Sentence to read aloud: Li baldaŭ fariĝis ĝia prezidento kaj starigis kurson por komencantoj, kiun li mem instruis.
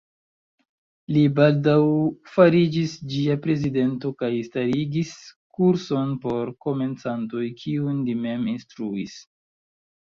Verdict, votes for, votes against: accepted, 2, 0